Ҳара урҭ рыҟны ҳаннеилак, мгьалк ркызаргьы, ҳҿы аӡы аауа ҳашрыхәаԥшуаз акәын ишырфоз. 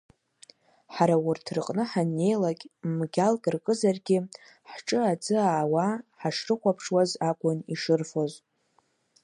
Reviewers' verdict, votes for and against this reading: accepted, 2, 1